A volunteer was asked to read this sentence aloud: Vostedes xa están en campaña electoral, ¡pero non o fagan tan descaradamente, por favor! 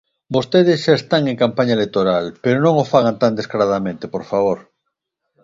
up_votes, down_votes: 2, 0